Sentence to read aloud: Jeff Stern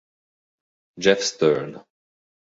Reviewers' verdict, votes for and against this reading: accepted, 3, 0